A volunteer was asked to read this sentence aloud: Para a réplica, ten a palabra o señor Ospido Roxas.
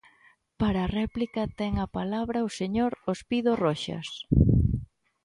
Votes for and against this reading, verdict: 2, 0, accepted